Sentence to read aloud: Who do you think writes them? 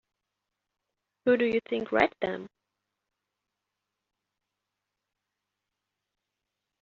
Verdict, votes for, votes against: accepted, 2, 1